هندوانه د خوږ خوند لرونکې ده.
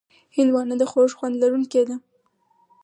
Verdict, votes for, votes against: accepted, 4, 2